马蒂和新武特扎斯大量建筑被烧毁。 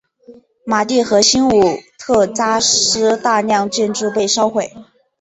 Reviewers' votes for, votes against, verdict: 6, 0, accepted